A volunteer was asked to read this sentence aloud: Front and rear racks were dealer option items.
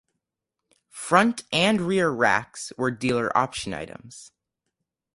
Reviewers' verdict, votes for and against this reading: rejected, 2, 2